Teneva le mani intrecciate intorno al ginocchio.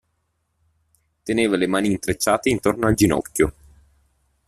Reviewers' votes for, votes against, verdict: 2, 0, accepted